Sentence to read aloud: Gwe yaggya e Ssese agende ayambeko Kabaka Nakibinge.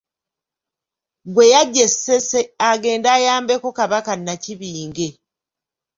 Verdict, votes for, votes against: accepted, 3, 1